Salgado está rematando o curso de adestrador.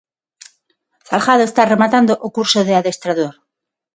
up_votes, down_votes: 6, 0